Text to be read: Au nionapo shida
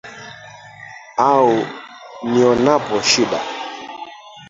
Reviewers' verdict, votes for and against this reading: rejected, 0, 3